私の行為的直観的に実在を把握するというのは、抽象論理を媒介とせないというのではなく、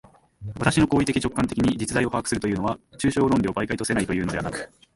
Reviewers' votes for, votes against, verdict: 2, 1, accepted